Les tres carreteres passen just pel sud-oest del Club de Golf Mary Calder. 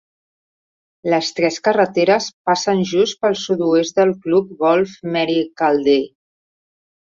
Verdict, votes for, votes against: rejected, 0, 2